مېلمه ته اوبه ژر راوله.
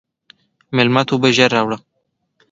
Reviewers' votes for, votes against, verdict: 2, 1, accepted